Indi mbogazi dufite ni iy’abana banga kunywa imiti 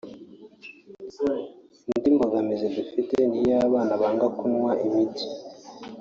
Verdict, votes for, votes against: accepted, 4, 0